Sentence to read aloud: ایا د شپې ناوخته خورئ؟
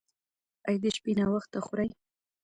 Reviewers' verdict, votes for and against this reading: accepted, 2, 1